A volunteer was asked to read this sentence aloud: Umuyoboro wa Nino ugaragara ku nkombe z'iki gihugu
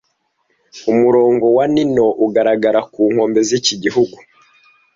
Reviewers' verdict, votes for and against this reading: rejected, 1, 2